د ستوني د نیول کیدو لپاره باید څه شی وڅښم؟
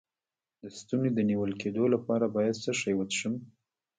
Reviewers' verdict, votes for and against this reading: rejected, 0, 2